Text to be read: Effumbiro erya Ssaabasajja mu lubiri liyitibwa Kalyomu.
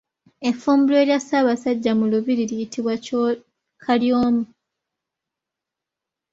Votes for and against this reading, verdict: 2, 1, accepted